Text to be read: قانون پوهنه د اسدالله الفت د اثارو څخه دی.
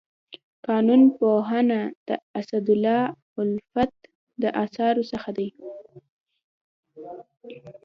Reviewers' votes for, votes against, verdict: 2, 0, accepted